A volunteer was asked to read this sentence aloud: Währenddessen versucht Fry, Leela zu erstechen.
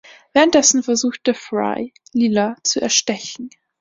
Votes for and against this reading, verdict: 2, 1, accepted